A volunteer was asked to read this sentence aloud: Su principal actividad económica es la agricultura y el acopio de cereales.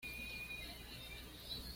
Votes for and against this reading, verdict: 1, 2, rejected